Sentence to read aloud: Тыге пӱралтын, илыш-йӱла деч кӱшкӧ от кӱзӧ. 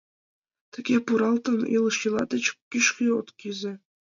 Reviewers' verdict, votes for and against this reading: rejected, 0, 2